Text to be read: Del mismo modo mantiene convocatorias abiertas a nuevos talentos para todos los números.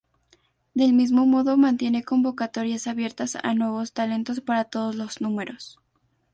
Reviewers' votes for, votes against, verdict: 2, 0, accepted